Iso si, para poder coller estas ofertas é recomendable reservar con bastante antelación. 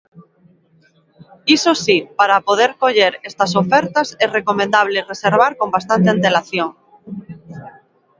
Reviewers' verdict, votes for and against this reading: accepted, 2, 0